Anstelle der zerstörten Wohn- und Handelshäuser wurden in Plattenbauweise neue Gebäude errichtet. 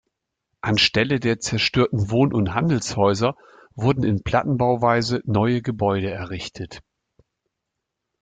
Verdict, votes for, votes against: accepted, 2, 0